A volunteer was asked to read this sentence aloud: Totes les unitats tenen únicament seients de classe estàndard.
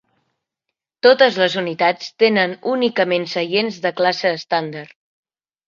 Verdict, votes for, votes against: accepted, 4, 0